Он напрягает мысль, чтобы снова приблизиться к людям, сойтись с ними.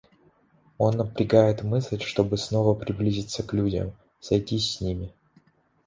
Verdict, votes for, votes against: accepted, 2, 0